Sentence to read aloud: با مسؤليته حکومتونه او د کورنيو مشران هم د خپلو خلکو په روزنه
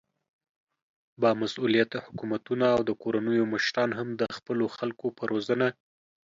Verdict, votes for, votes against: accepted, 2, 0